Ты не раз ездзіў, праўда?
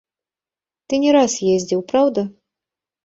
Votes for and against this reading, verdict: 0, 2, rejected